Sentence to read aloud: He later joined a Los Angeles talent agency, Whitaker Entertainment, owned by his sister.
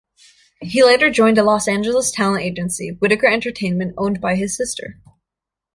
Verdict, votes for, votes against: accepted, 2, 0